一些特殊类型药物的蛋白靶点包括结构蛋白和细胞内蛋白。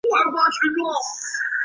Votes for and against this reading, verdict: 0, 2, rejected